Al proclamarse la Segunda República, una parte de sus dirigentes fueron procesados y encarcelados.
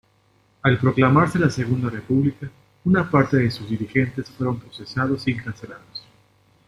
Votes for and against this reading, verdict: 2, 0, accepted